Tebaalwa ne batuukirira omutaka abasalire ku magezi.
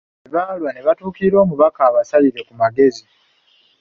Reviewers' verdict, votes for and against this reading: rejected, 1, 2